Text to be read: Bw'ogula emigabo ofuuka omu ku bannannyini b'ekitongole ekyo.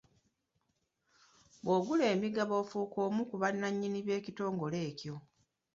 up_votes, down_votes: 2, 0